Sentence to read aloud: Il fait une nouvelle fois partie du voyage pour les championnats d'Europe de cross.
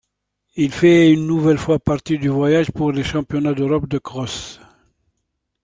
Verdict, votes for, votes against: accepted, 2, 0